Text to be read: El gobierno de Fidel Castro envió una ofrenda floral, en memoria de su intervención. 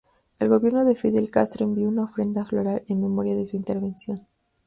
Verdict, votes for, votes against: rejected, 4, 4